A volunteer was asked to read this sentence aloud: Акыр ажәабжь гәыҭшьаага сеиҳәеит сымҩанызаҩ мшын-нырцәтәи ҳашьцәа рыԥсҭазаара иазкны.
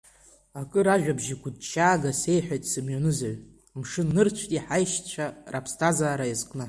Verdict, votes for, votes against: accepted, 2, 0